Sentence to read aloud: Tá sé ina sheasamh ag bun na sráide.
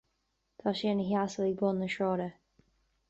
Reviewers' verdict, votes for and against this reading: accepted, 2, 1